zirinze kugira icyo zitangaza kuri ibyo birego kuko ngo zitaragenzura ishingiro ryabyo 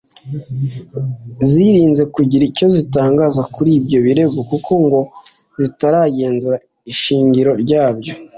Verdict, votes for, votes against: accepted, 3, 1